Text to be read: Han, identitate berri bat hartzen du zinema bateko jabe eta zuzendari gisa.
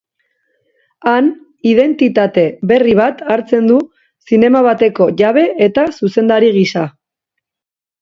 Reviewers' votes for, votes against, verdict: 2, 1, accepted